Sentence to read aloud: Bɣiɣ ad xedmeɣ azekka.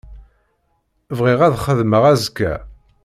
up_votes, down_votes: 2, 0